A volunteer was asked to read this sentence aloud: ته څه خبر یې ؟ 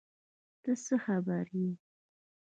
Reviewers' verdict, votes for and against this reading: rejected, 0, 2